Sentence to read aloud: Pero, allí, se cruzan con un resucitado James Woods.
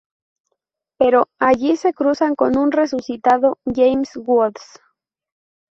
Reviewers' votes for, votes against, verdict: 2, 0, accepted